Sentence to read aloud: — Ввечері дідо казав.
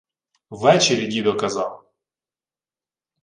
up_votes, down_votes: 2, 0